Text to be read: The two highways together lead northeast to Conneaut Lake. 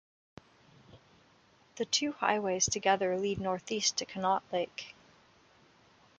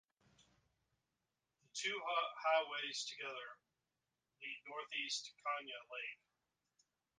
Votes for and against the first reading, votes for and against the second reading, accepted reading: 2, 0, 0, 2, first